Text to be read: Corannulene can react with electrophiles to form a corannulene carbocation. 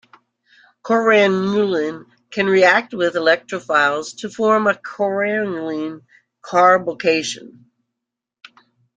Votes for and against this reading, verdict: 1, 2, rejected